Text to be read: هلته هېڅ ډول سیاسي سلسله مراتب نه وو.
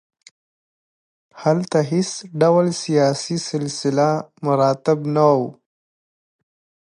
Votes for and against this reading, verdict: 2, 0, accepted